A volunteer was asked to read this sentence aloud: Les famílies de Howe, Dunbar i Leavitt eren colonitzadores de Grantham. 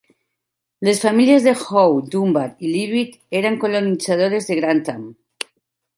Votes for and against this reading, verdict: 3, 0, accepted